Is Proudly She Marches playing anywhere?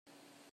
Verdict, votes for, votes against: rejected, 0, 2